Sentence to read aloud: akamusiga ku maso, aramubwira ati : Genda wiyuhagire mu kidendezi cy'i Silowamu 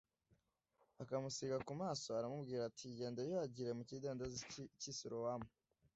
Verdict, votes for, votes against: accepted, 2, 0